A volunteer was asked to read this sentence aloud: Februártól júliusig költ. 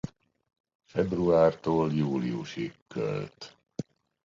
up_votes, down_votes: 2, 0